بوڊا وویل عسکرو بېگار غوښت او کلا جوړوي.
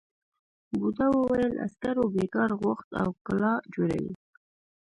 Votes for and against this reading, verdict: 1, 2, rejected